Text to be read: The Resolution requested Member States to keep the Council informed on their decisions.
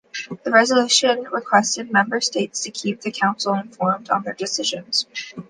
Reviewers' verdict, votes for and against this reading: accepted, 2, 0